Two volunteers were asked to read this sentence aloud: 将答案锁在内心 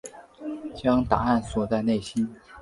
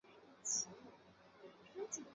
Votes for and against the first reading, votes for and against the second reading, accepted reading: 4, 0, 0, 2, first